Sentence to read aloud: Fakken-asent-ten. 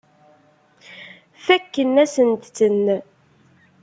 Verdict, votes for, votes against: rejected, 0, 2